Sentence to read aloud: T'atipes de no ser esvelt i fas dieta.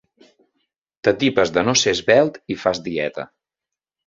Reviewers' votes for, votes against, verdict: 2, 0, accepted